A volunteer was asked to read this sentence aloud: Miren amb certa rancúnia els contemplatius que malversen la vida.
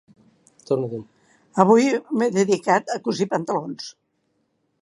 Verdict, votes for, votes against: rejected, 0, 2